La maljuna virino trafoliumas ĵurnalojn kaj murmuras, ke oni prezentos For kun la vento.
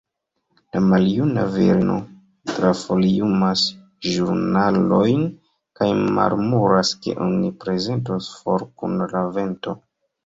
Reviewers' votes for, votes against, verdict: 0, 2, rejected